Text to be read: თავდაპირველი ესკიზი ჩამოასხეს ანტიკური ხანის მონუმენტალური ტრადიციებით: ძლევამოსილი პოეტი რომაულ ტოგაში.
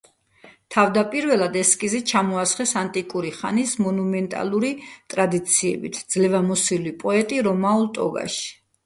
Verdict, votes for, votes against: accepted, 2, 1